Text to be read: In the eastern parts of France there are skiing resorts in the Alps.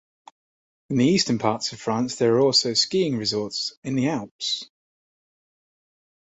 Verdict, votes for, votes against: accepted, 2, 0